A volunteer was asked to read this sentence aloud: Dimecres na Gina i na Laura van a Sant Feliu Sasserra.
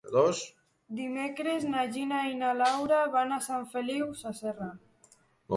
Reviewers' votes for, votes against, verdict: 1, 2, rejected